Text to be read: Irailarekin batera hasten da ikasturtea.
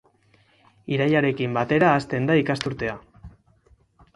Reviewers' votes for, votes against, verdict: 4, 0, accepted